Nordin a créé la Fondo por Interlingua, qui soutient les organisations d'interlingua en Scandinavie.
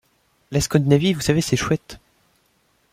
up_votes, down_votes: 0, 2